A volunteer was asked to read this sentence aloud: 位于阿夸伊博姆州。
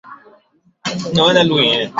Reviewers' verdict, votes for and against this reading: rejected, 1, 5